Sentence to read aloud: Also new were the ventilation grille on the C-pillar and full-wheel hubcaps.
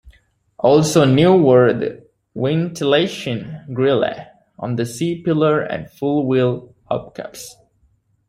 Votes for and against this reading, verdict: 1, 2, rejected